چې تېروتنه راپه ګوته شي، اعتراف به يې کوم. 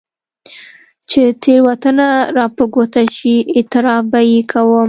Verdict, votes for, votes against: accepted, 2, 0